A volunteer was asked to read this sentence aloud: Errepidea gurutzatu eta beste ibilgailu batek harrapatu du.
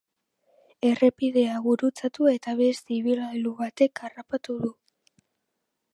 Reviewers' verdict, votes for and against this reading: accepted, 2, 0